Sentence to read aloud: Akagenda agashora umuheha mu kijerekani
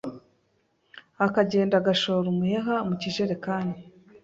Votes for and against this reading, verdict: 3, 0, accepted